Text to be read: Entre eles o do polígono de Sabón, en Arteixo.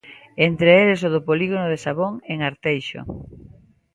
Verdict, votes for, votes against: accepted, 2, 0